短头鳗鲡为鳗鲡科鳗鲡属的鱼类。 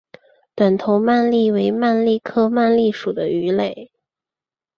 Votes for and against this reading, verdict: 3, 0, accepted